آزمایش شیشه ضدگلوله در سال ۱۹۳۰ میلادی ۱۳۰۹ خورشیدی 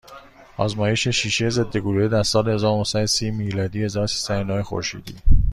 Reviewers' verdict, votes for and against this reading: rejected, 0, 2